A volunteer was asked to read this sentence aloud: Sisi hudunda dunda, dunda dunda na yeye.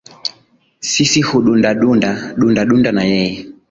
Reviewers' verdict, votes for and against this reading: accepted, 2, 0